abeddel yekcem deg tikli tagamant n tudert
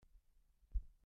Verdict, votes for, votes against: rejected, 0, 2